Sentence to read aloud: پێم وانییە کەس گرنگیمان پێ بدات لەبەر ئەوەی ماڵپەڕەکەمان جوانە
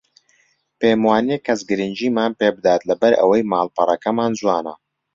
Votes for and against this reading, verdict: 2, 0, accepted